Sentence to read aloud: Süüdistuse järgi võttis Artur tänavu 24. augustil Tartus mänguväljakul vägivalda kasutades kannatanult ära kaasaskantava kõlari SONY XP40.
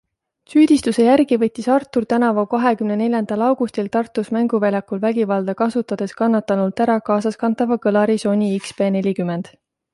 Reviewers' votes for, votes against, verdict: 0, 2, rejected